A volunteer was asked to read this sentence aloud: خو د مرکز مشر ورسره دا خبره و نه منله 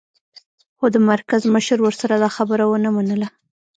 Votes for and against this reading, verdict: 0, 2, rejected